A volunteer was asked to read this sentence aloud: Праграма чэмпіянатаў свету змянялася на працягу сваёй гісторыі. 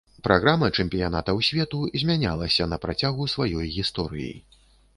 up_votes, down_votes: 2, 0